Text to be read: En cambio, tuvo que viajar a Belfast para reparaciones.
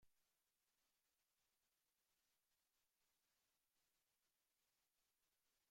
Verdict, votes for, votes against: rejected, 1, 2